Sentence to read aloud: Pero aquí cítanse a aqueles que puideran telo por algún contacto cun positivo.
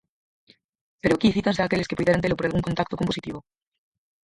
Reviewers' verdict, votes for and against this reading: rejected, 0, 4